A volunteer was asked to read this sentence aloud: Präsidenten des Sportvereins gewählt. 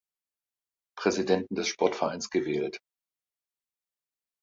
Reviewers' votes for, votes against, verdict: 2, 0, accepted